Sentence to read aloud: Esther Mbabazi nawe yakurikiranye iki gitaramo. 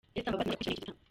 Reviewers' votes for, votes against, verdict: 0, 2, rejected